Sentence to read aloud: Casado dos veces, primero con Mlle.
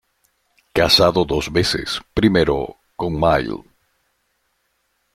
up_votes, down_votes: 1, 2